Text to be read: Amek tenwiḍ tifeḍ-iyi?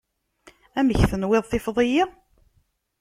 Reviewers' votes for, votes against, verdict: 2, 0, accepted